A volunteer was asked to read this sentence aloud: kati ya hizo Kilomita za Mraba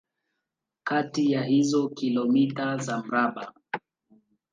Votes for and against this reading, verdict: 1, 2, rejected